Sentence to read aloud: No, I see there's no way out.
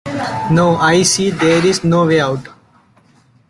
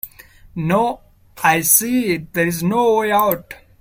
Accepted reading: second